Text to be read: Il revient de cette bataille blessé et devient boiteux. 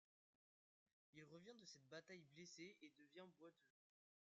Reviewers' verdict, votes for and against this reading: rejected, 0, 2